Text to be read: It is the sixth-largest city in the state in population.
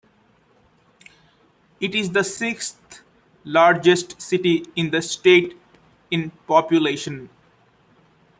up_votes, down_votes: 2, 0